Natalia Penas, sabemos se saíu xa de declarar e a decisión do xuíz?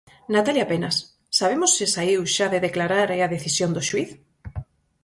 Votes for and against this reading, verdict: 4, 0, accepted